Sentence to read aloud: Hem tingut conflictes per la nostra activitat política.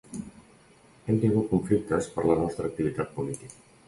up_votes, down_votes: 2, 0